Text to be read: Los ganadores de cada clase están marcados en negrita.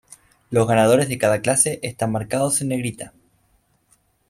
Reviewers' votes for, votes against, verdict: 2, 0, accepted